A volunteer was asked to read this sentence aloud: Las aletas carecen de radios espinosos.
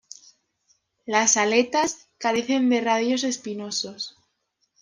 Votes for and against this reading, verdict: 2, 0, accepted